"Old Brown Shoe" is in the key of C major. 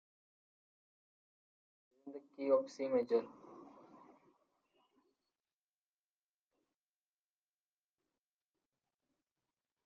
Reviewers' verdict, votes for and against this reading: rejected, 0, 2